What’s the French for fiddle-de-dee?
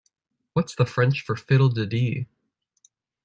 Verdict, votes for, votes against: accepted, 2, 0